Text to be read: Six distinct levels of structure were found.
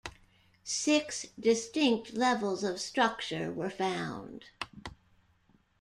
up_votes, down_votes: 2, 0